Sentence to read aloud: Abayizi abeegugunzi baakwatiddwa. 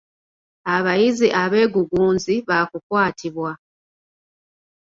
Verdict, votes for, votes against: rejected, 1, 2